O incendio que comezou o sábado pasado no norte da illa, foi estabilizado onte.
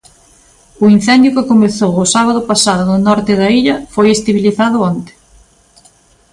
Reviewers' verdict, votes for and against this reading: rejected, 0, 2